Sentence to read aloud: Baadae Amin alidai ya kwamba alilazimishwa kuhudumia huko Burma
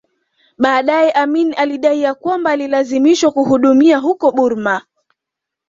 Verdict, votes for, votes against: accepted, 2, 0